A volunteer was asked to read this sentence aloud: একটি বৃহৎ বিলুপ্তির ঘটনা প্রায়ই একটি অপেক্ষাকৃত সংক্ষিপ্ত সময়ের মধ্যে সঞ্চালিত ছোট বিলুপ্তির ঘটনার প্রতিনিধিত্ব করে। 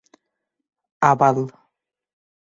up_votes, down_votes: 0, 7